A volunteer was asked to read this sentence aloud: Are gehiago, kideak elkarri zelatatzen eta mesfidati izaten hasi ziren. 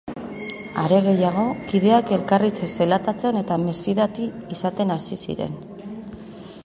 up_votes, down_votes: 0, 2